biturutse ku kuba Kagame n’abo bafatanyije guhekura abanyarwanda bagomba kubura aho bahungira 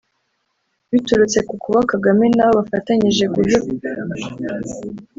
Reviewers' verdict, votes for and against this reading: rejected, 0, 2